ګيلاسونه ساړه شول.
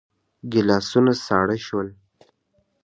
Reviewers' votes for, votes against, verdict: 0, 2, rejected